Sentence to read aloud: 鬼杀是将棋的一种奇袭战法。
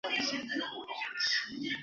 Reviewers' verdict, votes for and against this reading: rejected, 1, 3